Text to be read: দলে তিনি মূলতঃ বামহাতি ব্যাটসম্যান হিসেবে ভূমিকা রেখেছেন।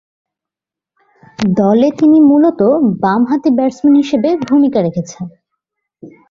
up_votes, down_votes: 5, 0